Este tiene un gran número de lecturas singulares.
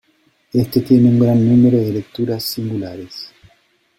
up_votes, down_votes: 2, 0